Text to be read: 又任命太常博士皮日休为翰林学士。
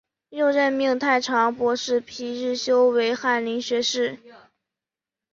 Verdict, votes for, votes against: accepted, 2, 0